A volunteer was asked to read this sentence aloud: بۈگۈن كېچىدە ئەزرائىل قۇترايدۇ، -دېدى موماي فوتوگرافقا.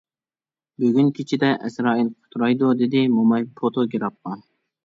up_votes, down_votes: 1, 2